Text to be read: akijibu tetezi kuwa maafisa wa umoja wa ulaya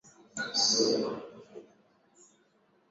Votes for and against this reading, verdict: 0, 10, rejected